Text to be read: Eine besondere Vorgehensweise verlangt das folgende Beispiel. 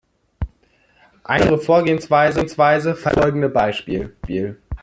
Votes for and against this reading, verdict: 0, 2, rejected